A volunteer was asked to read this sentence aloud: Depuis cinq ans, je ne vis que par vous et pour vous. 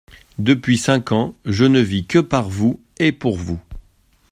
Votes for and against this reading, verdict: 2, 0, accepted